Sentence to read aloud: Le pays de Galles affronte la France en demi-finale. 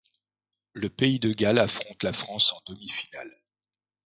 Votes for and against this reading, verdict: 2, 0, accepted